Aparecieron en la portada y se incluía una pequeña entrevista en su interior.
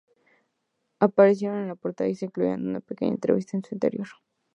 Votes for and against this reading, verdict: 2, 0, accepted